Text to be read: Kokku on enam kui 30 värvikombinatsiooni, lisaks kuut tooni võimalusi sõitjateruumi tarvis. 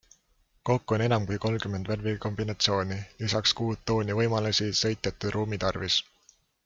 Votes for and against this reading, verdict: 0, 2, rejected